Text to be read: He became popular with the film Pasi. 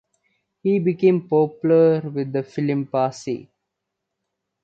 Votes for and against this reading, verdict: 2, 1, accepted